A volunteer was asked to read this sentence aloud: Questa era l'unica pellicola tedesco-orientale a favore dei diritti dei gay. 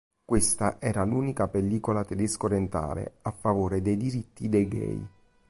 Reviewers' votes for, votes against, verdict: 3, 0, accepted